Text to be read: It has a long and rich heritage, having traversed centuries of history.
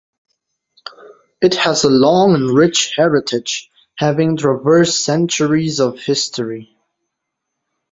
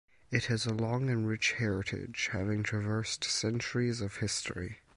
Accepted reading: first